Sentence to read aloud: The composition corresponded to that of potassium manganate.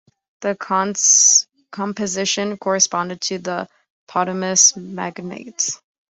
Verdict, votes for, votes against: rejected, 0, 2